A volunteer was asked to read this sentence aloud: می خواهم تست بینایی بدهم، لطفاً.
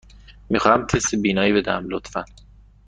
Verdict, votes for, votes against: accepted, 2, 0